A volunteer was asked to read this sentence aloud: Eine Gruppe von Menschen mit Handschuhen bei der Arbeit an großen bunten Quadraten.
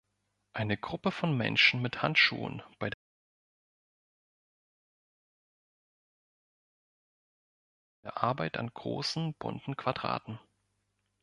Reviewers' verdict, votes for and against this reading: rejected, 1, 2